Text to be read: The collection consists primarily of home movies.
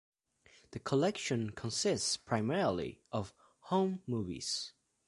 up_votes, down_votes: 2, 0